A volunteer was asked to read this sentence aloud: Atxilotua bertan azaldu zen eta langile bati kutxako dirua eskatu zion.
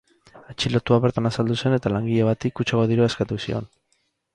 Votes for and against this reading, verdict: 2, 6, rejected